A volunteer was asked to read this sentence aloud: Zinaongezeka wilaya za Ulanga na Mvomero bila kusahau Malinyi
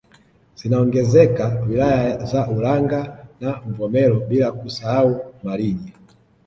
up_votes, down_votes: 1, 2